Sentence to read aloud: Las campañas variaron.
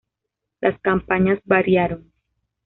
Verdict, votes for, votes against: accepted, 2, 0